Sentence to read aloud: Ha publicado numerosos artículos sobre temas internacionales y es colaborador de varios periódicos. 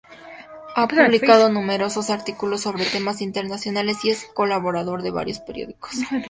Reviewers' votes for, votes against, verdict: 2, 0, accepted